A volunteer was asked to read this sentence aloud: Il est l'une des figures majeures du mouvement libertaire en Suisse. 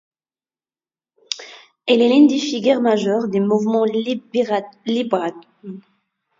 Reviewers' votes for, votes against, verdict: 1, 2, rejected